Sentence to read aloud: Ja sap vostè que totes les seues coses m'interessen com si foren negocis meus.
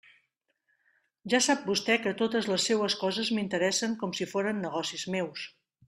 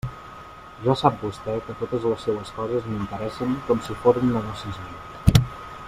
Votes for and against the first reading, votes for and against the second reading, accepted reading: 3, 0, 0, 2, first